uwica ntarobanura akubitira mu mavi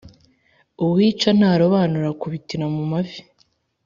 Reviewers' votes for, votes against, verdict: 2, 0, accepted